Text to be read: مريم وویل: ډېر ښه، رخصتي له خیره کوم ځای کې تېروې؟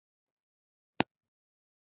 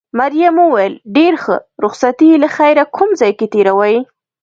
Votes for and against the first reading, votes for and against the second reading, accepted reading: 1, 2, 3, 0, second